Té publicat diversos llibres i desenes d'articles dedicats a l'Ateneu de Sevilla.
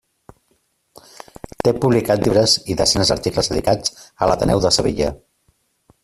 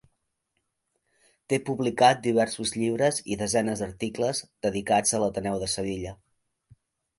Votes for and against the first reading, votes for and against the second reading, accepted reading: 0, 2, 2, 0, second